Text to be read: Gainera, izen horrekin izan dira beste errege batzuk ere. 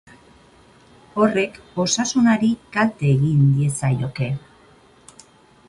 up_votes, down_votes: 0, 2